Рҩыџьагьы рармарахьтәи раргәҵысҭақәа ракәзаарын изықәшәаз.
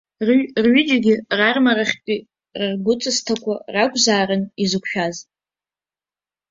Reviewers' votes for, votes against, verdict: 0, 4, rejected